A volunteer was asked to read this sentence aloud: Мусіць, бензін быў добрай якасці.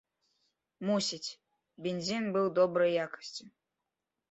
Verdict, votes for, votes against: accepted, 2, 0